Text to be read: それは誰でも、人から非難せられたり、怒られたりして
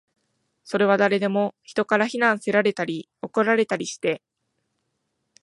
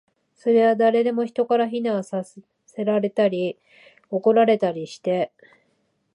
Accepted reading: first